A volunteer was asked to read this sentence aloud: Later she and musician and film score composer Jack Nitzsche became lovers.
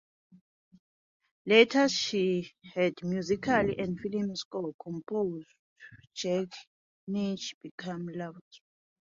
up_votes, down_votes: 0, 2